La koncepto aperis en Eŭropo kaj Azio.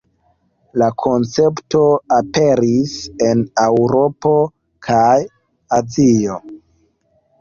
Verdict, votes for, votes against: rejected, 1, 2